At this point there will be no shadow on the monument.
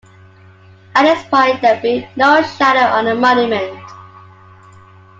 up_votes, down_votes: 2, 1